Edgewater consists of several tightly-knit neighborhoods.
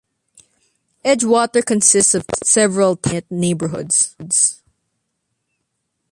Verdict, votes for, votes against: rejected, 0, 2